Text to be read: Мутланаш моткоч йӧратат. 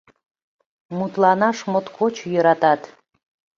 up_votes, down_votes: 2, 0